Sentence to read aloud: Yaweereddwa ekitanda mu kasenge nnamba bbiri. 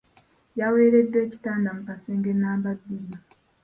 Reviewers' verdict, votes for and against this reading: accepted, 2, 0